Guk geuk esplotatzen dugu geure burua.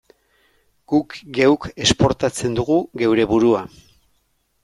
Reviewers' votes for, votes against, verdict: 0, 2, rejected